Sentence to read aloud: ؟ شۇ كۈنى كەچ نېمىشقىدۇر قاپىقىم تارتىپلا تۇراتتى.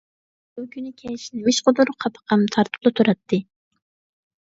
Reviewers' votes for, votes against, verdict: 2, 0, accepted